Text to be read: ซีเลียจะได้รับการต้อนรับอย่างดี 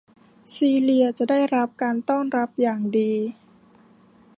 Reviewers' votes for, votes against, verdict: 2, 0, accepted